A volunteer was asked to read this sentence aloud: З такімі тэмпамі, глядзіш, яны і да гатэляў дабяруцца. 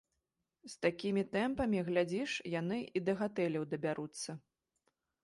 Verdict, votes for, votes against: accepted, 2, 0